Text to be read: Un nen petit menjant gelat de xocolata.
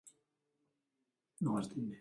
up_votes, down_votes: 0, 2